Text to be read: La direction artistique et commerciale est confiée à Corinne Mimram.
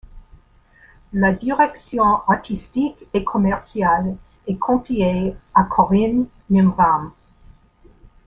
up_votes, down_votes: 2, 0